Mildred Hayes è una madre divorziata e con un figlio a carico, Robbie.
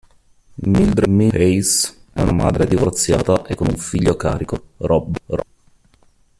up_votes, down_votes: 0, 2